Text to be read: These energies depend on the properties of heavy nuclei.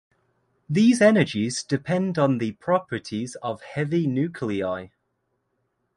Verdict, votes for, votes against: accepted, 2, 0